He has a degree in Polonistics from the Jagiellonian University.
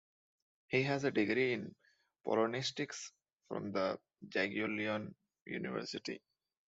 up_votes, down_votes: 1, 2